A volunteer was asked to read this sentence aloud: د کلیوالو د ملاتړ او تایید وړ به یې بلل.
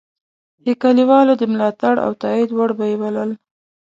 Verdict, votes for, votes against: accepted, 2, 0